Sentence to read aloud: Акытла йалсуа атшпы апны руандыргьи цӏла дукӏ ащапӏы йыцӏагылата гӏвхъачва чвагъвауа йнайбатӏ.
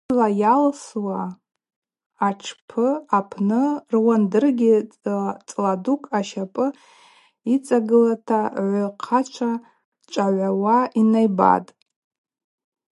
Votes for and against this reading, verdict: 2, 2, rejected